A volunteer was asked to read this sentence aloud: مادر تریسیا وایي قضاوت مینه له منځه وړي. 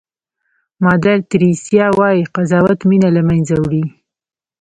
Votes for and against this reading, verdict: 2, 0, accepted